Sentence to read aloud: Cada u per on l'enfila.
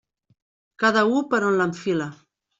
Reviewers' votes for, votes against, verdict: 3, 0, accepted